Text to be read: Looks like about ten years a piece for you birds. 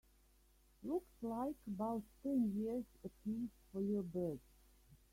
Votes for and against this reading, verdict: 1, 2, rejected